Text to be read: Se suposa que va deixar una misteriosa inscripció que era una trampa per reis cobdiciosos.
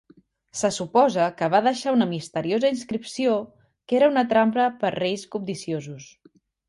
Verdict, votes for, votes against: rejected, 0, 2